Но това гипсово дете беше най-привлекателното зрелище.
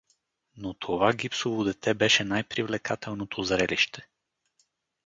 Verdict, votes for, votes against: accepted, 2, 0